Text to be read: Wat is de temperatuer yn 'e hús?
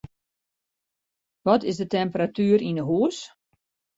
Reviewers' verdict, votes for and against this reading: accepted, 2, 0